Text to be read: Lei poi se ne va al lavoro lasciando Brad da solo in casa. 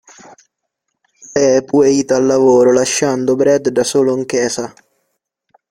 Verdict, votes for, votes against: rejected, 0, 2